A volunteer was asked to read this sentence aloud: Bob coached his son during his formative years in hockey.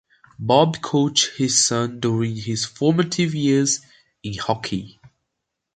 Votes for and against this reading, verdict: 2, 0, accepted